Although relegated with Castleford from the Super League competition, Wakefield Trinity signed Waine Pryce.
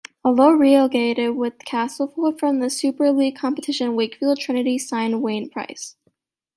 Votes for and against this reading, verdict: 1, 2, rejected